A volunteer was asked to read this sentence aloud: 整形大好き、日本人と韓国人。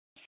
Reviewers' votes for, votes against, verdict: 0, 2, rejected